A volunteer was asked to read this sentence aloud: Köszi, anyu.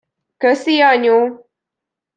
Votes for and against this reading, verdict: 2, 0, accepted